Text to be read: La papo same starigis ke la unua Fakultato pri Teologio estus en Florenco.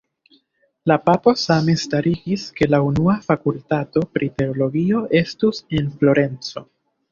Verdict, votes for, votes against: rejected, 0, 2